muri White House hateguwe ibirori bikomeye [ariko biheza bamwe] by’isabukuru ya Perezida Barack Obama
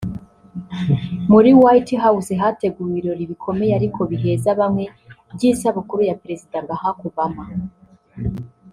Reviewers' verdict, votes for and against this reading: accepted, 2, 0